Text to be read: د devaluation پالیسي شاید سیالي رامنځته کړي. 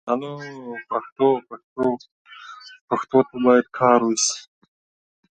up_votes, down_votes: 0, 2